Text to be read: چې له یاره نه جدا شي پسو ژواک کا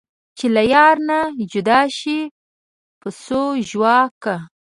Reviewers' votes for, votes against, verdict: 2, 0, accepted